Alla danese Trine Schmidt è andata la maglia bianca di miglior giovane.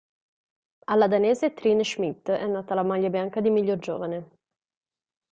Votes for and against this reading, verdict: 1, 2, rejected